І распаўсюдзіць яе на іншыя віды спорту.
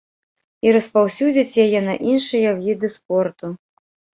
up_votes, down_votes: 3, 1